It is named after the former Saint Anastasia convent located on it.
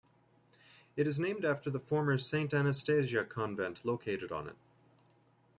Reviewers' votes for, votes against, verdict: 2, 0, accepted